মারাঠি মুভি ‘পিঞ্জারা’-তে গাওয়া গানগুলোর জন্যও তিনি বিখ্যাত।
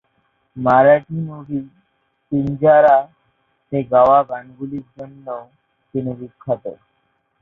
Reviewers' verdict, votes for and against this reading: rejected, 2, 4